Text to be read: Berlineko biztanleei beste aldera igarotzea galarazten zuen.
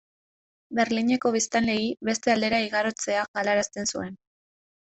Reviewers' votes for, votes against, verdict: 2, 0, accepted